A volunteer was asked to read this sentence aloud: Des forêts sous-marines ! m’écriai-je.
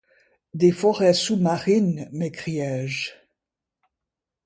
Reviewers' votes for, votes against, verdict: 2, 0, accepted